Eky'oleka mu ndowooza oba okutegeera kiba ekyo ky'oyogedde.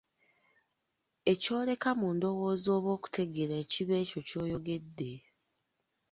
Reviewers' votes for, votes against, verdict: 1, 2, rejected